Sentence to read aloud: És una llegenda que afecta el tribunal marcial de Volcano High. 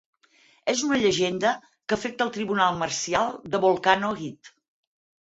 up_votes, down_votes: 4, 0